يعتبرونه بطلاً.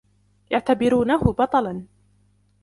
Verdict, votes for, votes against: accepted, 2, 0